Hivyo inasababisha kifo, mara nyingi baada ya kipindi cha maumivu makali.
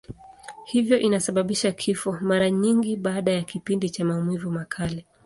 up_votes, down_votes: 2, 0